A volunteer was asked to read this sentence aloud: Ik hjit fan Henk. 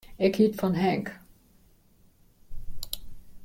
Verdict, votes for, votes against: rejected, 1, 2